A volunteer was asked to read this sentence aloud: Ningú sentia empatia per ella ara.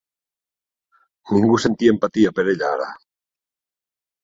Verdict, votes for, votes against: accepted, 2, 1